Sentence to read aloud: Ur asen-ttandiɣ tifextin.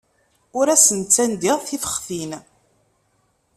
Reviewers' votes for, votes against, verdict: 2, 0, accepted